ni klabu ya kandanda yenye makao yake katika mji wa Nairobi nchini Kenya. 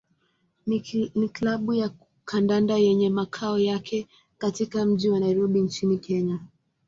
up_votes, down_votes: 2, 0